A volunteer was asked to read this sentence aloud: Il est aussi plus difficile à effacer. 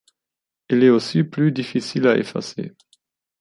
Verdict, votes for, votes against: accepted, 2, 1